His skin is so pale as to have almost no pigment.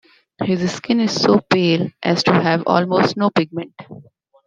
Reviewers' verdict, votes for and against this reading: accepted, 2, 0